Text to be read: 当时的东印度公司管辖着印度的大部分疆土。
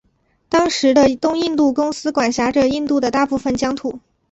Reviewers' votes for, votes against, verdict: 2, 0, accepted